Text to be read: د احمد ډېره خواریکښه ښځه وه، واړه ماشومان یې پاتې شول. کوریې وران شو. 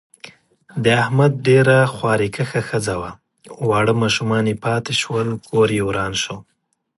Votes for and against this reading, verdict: 2, 0, accepted